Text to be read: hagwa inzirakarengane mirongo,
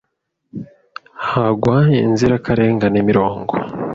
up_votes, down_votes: 2, 0